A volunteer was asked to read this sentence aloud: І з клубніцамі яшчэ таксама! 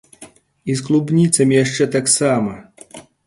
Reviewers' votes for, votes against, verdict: 2, 0, accepted